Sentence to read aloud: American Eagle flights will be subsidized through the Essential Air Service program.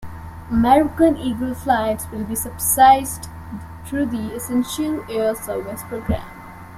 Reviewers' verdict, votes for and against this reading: rejected, 0, 2